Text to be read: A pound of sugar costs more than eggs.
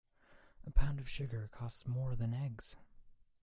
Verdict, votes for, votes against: accepted, 2, 0